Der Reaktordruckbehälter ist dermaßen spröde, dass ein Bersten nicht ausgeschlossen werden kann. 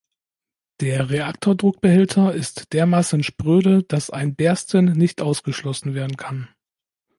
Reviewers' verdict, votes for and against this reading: accepted, 2, 0